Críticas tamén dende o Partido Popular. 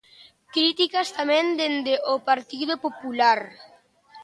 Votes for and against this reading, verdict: 2, 0, accepted